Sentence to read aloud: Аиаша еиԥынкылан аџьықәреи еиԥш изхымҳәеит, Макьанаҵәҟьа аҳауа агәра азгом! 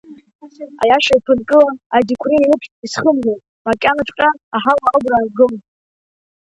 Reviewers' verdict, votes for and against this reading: rejected, 0, 2